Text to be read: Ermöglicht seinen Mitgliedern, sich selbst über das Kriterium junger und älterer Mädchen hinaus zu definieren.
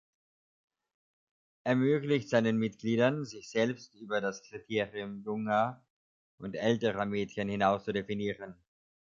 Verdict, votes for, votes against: accepted, 3, 1